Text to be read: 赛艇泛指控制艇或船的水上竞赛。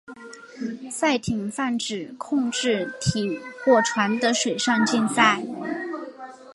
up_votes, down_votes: 4, 0